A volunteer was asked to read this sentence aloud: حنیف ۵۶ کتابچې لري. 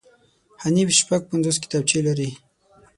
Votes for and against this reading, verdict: 0, 2, rejected